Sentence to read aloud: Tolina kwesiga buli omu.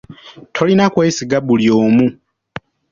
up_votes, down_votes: 3, 0